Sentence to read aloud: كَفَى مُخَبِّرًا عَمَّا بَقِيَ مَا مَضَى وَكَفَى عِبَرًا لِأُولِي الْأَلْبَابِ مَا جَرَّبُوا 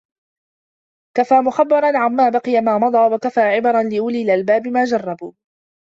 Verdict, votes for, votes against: accepted, 2, 0